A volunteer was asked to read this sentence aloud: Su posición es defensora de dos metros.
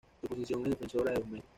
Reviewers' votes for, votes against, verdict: 1, 2, rejected